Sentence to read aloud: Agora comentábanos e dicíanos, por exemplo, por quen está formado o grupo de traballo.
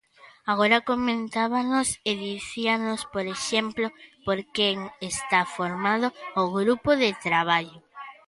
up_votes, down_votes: 1, 2